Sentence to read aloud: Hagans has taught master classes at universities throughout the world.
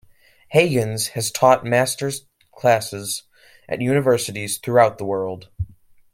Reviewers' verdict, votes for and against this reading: rejected, 1, 2